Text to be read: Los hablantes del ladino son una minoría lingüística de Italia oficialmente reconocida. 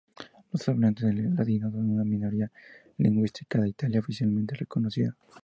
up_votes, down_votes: 0, 2